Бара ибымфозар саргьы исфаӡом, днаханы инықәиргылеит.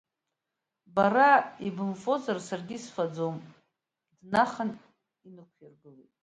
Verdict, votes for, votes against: rejected, 0, 2